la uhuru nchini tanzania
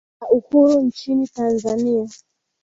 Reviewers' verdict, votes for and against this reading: accepted, 2, 1